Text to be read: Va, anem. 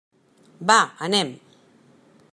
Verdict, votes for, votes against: accepted, 3, 0